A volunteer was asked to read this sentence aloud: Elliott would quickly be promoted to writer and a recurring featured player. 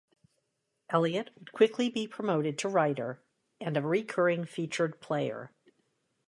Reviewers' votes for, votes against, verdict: 0, 2, rejected